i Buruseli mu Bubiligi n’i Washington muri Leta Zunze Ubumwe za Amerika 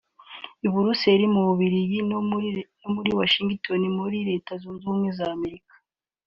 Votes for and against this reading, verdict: 0, 2, rejected